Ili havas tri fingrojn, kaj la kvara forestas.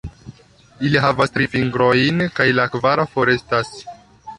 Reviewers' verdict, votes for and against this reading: accepted, 2, 0